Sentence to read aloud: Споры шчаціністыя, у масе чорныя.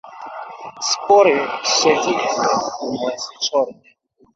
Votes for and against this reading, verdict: 0, 2, rejected